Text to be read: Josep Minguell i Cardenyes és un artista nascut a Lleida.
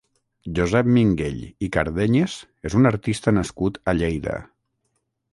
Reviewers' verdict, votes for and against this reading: accepted, 6, 0